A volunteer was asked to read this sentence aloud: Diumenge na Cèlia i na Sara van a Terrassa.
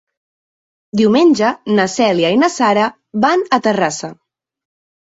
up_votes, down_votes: 3, 0